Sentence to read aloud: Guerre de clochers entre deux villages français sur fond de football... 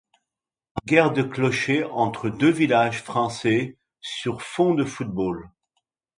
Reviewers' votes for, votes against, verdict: 2, 0, accepted